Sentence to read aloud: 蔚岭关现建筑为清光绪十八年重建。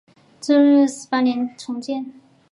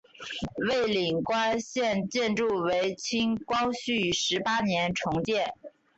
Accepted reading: second